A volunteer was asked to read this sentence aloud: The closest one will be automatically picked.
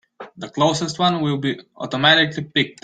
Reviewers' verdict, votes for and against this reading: accepted, 2, 0